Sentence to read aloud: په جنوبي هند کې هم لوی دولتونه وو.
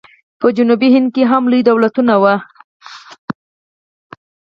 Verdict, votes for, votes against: accepted, 4, 0